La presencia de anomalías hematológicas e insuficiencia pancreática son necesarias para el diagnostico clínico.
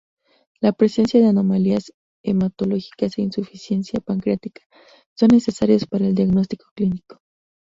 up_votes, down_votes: 2, 0